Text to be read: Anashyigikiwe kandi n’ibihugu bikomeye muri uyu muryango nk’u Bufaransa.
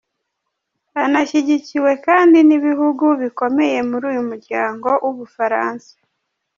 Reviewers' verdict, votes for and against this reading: rejected, 1, 2